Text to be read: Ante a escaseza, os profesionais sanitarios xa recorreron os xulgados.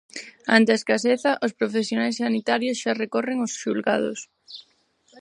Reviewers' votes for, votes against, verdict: 2, 4, rejected